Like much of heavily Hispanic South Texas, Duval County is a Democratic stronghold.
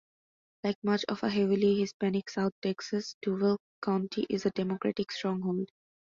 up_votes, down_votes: 2, 0